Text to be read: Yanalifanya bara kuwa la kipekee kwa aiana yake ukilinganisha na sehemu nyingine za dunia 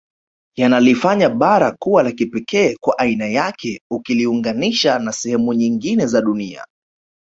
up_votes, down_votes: 0, 2